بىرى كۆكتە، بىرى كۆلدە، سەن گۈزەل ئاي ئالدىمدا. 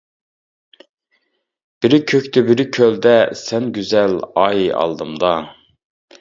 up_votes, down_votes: 2, 0